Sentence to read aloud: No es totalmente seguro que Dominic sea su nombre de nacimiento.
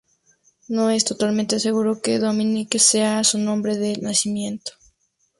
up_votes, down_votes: 2, 0